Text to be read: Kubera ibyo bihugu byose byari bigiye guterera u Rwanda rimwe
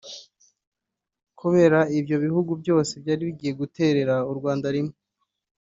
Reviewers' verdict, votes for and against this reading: accepted, 2, 1